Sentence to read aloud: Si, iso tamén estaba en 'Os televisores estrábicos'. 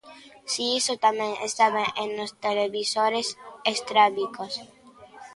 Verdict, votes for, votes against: accepted, 2, 0